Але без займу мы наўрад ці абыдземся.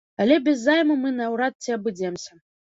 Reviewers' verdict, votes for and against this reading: rejected, 0, 2